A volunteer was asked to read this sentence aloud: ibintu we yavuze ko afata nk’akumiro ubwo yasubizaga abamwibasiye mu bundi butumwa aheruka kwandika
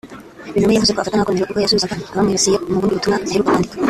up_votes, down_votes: 0, 2